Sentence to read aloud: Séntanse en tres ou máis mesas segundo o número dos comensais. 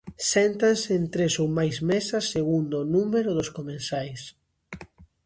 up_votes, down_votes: 2, 0